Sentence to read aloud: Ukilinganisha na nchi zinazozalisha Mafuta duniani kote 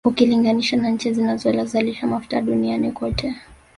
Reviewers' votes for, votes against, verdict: 0, 2, rejected